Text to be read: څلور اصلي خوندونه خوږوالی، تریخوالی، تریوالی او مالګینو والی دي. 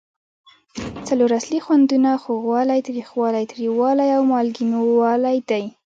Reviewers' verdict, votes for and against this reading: rejected, 1, 2